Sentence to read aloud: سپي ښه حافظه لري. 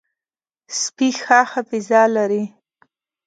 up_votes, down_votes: 3, 0